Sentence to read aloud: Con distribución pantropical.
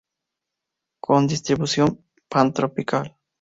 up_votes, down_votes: 2, 0